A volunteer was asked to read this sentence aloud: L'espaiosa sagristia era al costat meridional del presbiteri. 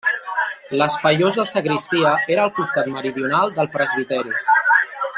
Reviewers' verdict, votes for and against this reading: rejected, 1, 2